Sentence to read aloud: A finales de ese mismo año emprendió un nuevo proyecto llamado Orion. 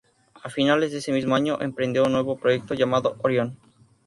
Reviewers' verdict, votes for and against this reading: accepted, 2, 0